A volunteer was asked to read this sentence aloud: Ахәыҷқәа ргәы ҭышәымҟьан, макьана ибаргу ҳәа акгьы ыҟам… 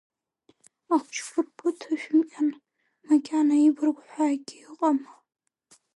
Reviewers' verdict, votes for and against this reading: rejected, 0, 2